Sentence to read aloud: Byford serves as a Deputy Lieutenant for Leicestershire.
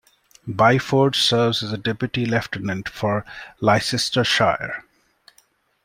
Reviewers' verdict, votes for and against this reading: rejected, 1, 2